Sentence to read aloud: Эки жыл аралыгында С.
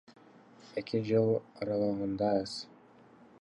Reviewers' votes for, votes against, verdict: 1, 2, rejected